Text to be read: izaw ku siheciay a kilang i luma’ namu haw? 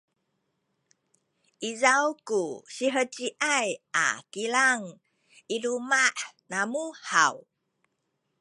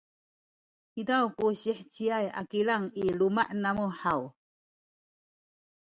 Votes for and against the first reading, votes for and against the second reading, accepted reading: 0, 2, 2, 0, second